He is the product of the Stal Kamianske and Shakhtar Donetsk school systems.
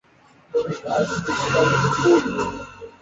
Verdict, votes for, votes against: rejected, 0, 2